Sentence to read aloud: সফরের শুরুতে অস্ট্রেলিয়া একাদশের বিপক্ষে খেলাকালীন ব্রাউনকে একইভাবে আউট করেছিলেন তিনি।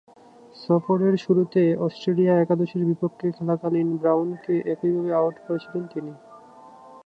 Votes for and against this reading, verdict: 2, 2, rejected